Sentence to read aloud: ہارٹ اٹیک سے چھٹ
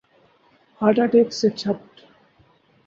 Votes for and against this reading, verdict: 2, 0, accepted